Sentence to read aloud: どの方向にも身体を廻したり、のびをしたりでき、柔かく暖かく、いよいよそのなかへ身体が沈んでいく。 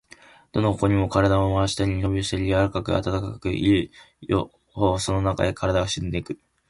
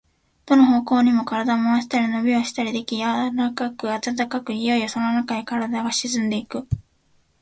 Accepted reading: second